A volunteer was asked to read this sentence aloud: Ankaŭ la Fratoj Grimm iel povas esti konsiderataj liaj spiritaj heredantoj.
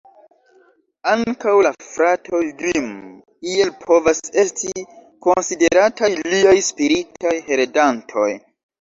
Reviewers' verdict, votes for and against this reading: rejected, 0, 2